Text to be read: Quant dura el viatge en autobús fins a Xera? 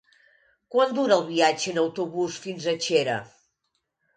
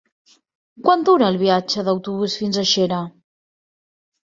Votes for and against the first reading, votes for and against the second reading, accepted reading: 2, 1, 0, 2, first